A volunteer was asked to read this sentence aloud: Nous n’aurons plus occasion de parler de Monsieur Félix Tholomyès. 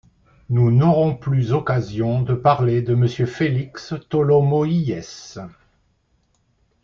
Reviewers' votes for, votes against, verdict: 1, 2, rejected